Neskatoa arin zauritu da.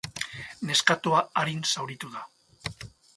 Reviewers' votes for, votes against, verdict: 4, 0, accepted